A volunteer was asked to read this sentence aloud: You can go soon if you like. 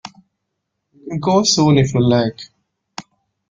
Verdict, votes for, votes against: rejected, 0, 2